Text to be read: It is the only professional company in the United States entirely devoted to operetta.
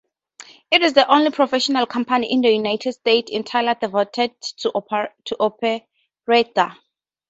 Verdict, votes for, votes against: rejected, 0, 4